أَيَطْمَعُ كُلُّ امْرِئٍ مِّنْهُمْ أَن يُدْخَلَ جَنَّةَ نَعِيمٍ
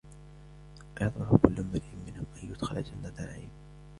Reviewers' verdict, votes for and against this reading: accepted, 2, 0